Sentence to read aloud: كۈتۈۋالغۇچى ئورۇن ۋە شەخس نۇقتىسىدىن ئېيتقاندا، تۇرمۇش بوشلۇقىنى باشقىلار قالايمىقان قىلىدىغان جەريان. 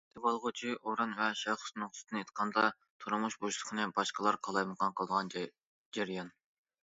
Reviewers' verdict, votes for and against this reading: rejected, 0, 2